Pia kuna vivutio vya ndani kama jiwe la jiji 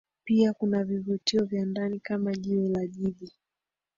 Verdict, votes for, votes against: rejected, 1, 2